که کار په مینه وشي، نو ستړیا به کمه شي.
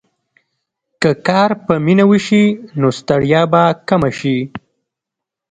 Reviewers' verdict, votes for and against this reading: rejected, 0, 2